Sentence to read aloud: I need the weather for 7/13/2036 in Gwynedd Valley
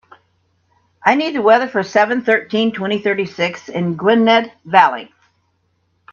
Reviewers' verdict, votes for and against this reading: rejected, 0, 2